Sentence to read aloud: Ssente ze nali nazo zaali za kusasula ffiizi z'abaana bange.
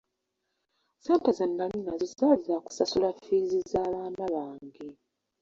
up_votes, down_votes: 0, 2